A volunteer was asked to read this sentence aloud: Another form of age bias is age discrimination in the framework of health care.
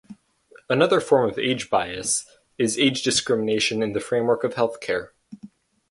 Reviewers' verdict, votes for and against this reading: accepted, 4, 0